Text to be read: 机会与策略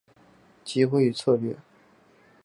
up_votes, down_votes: 3, 0